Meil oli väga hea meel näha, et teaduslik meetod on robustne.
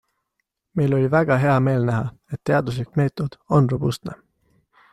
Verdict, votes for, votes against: accepted, 2, 0